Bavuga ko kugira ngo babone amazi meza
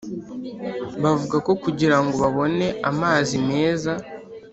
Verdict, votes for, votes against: accepted, 3, 0